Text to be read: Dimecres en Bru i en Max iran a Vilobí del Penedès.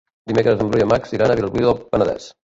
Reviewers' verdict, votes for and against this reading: rejected, 0, 2